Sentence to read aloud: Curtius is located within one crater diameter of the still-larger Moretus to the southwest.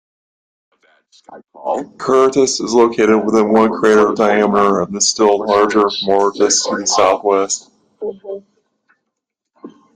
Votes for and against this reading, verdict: 1, 2, rejected